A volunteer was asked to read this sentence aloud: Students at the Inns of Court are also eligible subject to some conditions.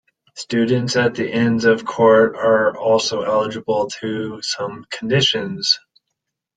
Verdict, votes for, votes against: rejected, 1, 2